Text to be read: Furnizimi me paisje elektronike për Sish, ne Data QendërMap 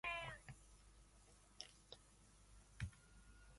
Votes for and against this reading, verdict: 0, 2, rejected